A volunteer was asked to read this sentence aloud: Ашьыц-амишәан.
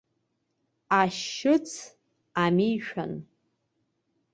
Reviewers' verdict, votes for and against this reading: accepted, 2, 1